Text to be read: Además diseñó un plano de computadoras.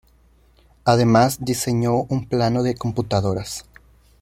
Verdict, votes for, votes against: accepted, 2, 0